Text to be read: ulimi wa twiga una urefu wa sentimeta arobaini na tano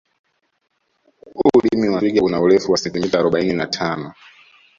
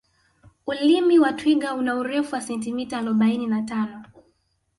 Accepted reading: second